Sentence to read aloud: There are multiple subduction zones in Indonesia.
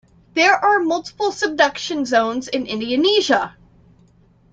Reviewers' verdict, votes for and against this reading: rejected, 0, 2